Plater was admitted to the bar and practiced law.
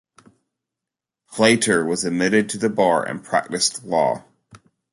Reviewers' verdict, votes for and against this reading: accepted, 2, 0